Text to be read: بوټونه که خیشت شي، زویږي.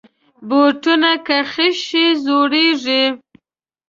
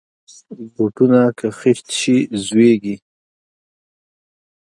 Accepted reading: second